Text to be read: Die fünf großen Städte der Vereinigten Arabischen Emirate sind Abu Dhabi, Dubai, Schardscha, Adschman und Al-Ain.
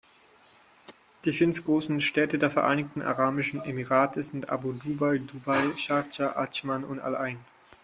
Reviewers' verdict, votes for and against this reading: rejected, 0, 4